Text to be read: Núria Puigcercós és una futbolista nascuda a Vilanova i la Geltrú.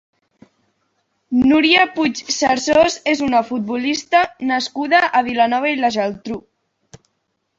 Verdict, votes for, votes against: rejected, 0, 2